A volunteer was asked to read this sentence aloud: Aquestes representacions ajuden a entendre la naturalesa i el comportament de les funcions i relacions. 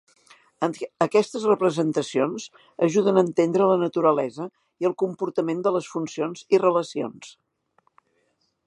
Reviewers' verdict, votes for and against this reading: accepted, 3, 1